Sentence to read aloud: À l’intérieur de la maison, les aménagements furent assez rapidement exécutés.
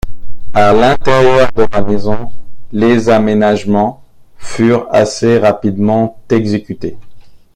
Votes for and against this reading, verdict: 1, 2, rejected